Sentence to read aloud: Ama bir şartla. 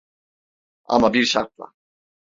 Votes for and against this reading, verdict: 2, 0, accepted